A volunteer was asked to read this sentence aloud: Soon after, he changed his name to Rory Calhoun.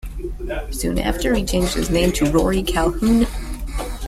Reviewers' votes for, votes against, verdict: 1, 2, rejected